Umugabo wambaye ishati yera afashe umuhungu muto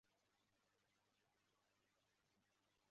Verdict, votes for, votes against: rejected, 0, 3